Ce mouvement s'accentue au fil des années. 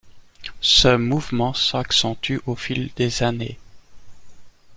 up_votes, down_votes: 2, 0